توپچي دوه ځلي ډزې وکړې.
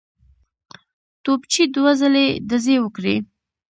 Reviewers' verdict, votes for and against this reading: accepted, 2, 0